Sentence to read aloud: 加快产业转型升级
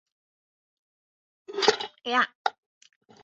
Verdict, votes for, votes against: rejected, 1, 2